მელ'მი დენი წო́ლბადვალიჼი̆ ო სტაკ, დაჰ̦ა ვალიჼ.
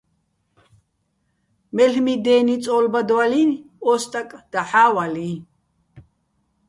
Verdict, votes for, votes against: accepted, 2, 0